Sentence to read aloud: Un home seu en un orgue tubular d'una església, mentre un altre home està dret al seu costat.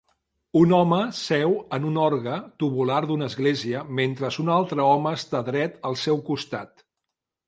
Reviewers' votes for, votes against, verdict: 1, 2, rejected